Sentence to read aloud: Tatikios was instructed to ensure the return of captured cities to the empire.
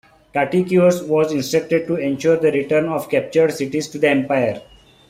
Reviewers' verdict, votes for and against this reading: accepted, 3, 2